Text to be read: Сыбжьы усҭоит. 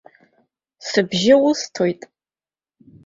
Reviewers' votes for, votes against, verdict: 2, 0, accepted